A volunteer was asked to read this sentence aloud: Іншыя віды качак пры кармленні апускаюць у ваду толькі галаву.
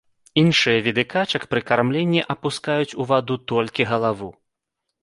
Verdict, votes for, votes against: accepted, 2, 0